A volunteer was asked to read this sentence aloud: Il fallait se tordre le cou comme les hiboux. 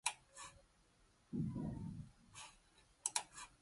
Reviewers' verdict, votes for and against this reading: rejected, 0, 2